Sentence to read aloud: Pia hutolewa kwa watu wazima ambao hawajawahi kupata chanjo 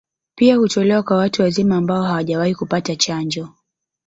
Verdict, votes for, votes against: rejected, 0, 2